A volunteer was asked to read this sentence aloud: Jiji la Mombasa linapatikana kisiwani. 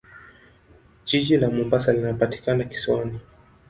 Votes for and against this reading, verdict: 2, 0, accepted